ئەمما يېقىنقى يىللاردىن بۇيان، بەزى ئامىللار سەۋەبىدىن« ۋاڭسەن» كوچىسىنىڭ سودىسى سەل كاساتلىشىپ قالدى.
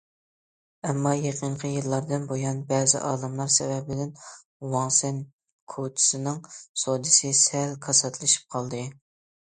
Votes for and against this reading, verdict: 0, 2, rejected